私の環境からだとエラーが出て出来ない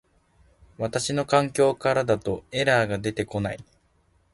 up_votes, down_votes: 3, 0